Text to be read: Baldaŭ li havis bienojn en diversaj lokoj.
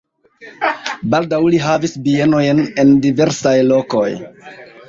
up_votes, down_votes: 1, 2